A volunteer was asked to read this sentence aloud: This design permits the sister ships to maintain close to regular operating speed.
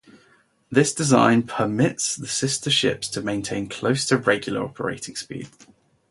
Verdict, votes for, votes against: accepted, 2, 0